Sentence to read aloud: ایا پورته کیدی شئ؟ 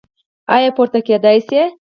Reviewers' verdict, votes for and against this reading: accepted, 4, 2